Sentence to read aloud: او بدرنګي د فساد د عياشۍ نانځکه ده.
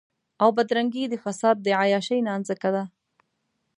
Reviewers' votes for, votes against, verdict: 2, 0, accepted